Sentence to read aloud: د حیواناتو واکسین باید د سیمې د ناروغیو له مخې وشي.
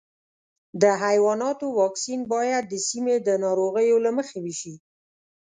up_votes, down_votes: 2, 0